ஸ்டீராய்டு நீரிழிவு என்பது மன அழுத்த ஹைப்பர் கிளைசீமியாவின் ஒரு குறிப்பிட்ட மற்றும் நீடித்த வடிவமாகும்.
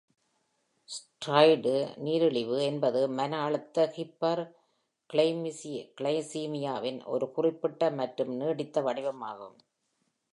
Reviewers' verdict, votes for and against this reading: rejected, 0, 2